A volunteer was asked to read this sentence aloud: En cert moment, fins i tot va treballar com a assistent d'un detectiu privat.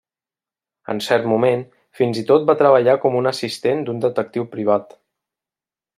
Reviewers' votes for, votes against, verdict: 0, 2, rejected